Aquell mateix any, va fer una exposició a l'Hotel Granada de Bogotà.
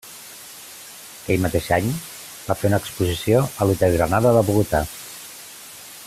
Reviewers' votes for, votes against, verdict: 2, 0, accepted